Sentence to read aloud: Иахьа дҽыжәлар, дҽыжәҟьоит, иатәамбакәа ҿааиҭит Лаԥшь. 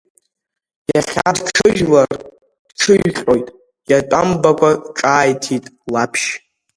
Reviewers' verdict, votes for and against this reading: rejected, 1, 2